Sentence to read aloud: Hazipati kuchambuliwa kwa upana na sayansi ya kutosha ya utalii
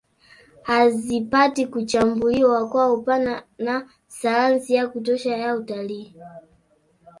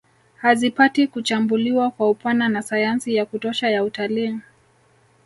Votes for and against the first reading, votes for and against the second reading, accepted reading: 2, 0, 1, 2, first